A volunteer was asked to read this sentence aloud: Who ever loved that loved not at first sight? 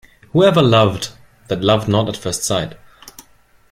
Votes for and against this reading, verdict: 2, 0, accepted